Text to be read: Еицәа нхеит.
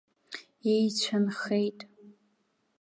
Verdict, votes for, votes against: accepted, 2, 0